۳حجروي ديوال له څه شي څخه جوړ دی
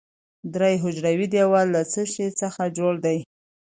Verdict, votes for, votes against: rejected, 0, 2